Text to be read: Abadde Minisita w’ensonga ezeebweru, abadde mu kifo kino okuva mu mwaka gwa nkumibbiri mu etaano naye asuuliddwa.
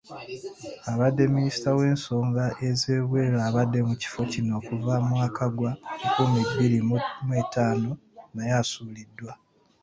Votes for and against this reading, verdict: 2, 0, accepted